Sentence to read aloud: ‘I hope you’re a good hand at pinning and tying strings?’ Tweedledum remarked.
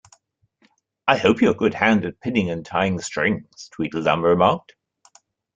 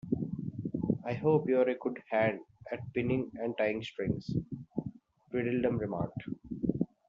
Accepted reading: second